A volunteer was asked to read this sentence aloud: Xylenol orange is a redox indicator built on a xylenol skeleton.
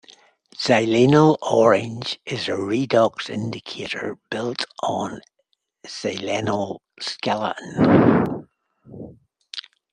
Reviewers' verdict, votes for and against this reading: rejected, 1, 2